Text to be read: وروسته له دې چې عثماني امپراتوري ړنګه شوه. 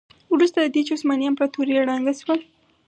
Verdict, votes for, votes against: rejected, 2, 2